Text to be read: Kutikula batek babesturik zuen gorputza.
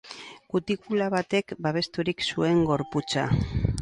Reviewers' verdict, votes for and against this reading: rejected, 2, 2